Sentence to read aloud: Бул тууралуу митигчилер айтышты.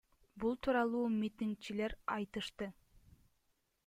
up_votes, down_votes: 1, 2